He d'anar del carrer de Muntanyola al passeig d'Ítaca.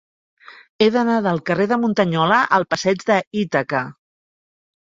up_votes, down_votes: 1, 4